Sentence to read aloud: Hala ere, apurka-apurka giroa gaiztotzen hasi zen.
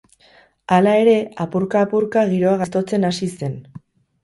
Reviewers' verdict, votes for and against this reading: accepted, 2, 0